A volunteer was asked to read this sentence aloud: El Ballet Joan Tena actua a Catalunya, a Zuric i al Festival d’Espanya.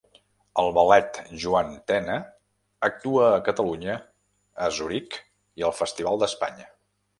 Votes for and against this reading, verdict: 0, 2, rejected